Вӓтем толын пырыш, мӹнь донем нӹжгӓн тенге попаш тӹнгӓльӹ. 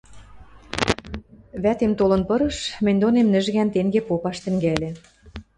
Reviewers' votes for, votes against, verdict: 2, 0, accepted